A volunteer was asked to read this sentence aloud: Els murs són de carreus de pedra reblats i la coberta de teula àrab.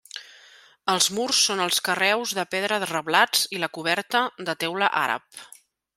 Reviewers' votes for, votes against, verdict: 1, 2, rejected